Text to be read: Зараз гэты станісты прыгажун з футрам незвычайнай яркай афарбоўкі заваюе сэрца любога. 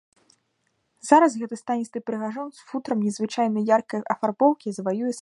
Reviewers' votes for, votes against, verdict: 0, 2, rejected